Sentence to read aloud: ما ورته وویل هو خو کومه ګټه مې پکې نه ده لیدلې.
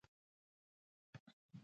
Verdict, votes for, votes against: rejected, 0, 2